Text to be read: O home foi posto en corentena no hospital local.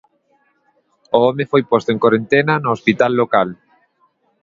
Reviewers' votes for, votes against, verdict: 2, 0, accepted